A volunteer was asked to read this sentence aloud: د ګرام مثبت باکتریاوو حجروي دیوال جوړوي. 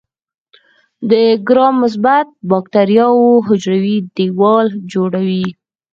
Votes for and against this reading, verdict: 4, 0, accepted